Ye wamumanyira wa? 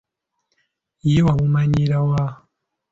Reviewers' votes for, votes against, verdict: 2, 0, accepted